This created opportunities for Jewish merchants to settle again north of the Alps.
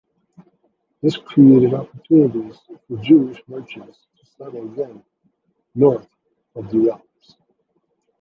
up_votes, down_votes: 0, 2